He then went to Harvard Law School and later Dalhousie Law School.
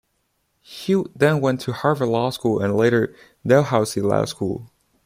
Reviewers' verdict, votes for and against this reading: accepted, 2, 1